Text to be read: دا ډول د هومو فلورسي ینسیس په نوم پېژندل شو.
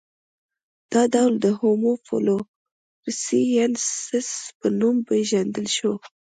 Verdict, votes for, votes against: accepted, 3, 0